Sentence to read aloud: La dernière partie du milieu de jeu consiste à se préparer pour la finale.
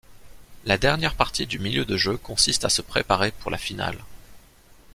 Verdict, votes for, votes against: accepted, 2, 0